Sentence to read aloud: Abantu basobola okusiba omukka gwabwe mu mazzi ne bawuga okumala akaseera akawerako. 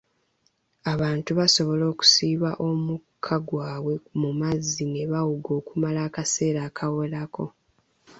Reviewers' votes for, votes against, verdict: 1, 2, rejected